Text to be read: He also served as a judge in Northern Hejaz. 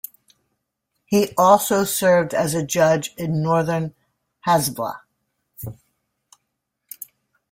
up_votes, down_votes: 0, 2